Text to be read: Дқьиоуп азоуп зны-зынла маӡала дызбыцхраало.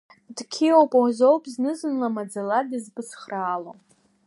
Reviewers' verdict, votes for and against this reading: rejected, 0, 2